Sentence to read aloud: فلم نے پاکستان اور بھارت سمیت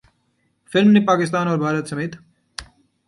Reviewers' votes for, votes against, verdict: 2, 0, accepted